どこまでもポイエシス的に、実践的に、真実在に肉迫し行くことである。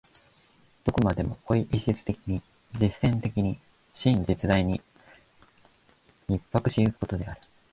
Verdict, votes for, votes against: rejected, 1, 2